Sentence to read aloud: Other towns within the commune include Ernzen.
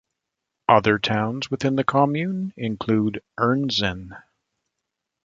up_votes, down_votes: 2, 0